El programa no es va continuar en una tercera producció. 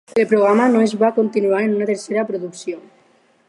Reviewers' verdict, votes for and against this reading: accepted, 4, 0